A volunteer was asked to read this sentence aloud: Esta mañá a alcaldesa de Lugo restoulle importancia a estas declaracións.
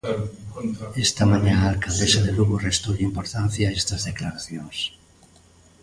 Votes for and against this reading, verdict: 2, 1, accepted